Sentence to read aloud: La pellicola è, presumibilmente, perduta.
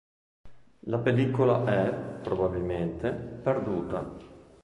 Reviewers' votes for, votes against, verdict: 0, 2, rejected